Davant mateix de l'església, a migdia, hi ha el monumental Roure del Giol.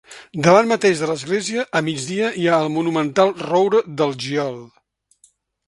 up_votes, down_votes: 2, 0